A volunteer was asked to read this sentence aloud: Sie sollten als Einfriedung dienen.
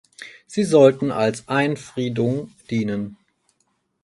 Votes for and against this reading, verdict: 4, 0, accepted